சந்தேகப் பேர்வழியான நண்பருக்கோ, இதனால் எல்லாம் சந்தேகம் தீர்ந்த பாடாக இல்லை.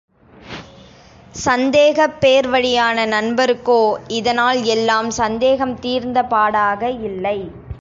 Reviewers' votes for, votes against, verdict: 3, 0, accepted